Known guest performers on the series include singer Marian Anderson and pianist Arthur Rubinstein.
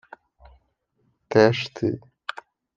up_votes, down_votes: 0, 2